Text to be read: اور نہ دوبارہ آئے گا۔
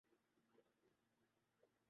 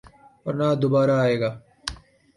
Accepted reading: second